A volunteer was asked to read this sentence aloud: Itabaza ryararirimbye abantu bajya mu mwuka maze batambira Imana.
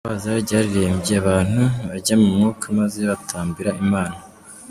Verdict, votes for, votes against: rejected, 1, 2